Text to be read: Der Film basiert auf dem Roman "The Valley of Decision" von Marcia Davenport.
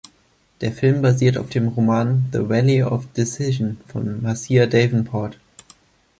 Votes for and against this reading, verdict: 1, 2, rejected